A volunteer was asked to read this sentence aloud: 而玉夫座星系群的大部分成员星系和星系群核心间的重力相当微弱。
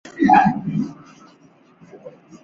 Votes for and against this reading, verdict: 0, 2, rejected